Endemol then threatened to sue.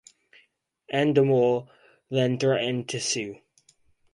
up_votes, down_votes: 4, 0